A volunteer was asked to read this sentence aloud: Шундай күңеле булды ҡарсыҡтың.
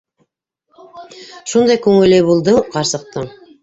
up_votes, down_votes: 0, 2